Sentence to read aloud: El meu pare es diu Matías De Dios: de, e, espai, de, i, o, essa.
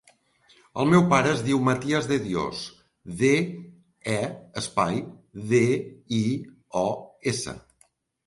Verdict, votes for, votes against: rejected, 1, 2